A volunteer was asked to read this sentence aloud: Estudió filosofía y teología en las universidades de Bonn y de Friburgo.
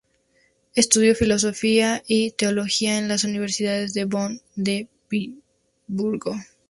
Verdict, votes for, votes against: rejected, 0, 2